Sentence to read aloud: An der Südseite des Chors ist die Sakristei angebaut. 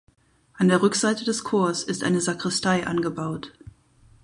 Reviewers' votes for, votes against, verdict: 0, 2, rejected